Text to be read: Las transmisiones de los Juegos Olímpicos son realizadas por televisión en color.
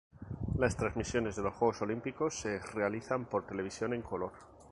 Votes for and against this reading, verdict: 0, 2, rejected